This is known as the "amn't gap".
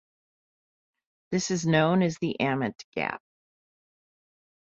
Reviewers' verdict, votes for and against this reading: accepted, 2, 0